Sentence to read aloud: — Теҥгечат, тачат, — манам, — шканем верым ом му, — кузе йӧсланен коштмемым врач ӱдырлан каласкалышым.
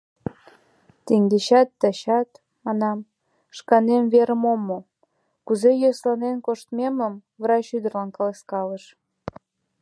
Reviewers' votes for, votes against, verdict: 1, 2, rejected